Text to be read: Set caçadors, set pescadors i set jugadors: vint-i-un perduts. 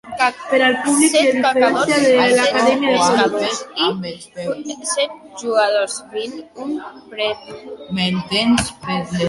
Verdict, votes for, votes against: rejected, 0, 2